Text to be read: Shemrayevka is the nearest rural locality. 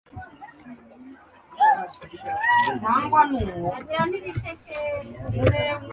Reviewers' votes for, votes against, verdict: 0, 2, rejected